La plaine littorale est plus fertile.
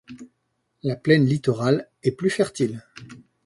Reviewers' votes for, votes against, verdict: 2, 0, accepted